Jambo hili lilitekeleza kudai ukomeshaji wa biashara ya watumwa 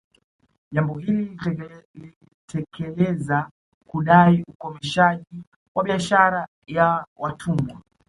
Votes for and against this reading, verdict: 1, 2, rejected